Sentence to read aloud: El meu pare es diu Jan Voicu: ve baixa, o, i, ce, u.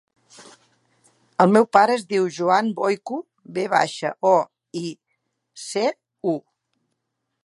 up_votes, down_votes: 1, 2